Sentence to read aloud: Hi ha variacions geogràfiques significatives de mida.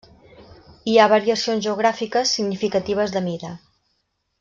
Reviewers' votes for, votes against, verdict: 3, 0, accepted